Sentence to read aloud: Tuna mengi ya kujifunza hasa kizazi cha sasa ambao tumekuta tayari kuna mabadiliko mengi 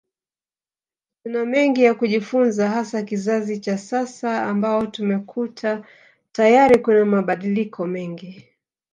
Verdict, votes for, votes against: accepted, 2, 0